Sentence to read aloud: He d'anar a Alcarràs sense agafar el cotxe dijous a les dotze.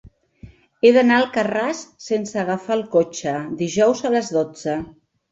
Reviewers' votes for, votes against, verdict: 3, 0, accepted